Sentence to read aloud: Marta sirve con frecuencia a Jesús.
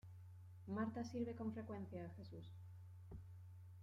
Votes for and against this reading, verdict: 0, 2, rejected